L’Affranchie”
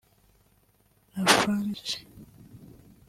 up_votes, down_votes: 1, 2